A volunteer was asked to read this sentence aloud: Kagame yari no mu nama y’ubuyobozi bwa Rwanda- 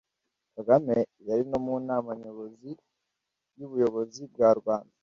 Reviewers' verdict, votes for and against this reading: rejected, 1, 2